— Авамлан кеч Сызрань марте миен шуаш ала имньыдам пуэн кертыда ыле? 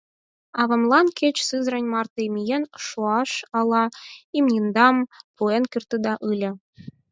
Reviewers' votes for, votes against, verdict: 4, 6, rejected